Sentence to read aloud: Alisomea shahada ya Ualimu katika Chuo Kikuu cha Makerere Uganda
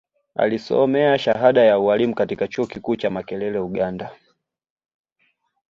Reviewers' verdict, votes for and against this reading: rejected, 1, 2